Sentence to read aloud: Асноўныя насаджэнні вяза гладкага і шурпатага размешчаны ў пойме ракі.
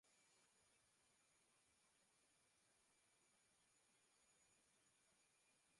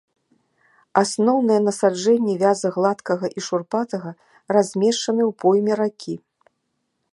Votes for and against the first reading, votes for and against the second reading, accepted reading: 0, 3, 2, 0, second